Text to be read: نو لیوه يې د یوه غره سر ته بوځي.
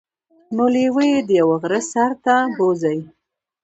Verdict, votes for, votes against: accepted, 2, 0